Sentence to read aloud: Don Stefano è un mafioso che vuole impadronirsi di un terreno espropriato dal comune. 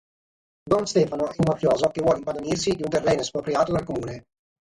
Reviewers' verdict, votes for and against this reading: rejected, 3, 6